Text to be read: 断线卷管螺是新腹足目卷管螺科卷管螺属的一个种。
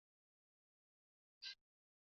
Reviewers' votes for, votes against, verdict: 0, 4, rejected